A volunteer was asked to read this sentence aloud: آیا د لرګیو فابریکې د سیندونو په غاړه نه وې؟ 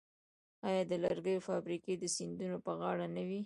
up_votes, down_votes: 0, 3